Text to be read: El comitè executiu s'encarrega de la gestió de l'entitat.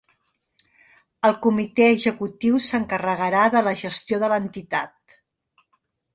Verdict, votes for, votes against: rejected, 0, 2